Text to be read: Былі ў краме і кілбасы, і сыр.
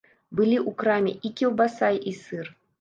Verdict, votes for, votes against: rejected, 0, 2